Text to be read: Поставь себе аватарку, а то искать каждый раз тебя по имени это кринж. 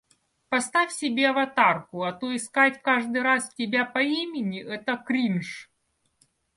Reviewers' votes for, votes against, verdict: 2, 0, accepted